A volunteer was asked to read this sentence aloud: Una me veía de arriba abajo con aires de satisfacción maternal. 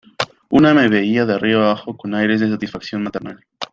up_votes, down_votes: 1, 2